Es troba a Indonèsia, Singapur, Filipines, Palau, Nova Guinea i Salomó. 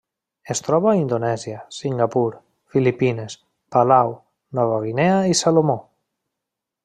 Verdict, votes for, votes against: accepted, 3, 0